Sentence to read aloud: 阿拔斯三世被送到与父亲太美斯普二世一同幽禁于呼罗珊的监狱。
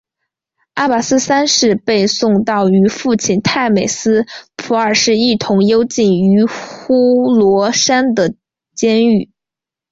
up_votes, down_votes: 3, 2